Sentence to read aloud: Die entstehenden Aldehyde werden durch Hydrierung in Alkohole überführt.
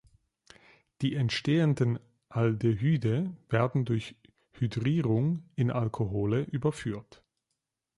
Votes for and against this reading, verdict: 2, 0, accepted